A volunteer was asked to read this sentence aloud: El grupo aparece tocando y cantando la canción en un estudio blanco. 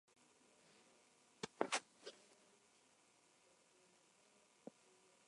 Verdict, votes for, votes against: rejected, 0, 2